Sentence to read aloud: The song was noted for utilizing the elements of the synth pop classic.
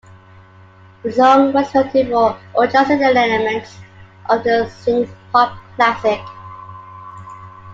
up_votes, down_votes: 0, 2